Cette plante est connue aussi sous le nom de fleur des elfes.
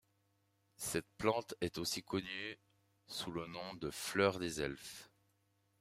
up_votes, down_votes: 0, 2